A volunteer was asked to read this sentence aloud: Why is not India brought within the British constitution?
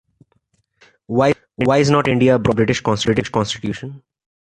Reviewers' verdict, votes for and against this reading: rejected, 0, 2